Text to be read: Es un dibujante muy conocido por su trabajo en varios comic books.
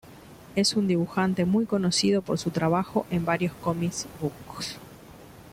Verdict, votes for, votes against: rejected, 1, 2